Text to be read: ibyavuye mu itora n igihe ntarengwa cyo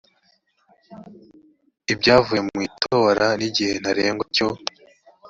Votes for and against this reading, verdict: 2, 0, accepted